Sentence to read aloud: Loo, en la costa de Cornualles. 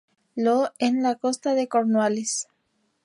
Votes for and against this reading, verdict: 0, 2, rejected